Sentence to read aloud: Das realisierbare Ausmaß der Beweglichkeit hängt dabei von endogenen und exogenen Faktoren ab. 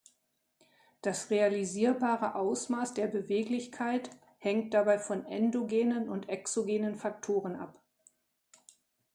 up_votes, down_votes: 2, 0